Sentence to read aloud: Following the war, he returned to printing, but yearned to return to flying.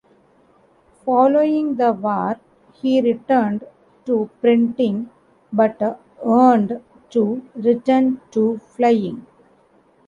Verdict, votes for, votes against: rejected, 0, 2